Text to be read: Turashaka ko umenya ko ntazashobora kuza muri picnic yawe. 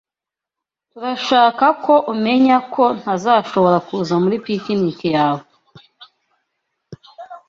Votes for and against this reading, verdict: 0, 2, rejected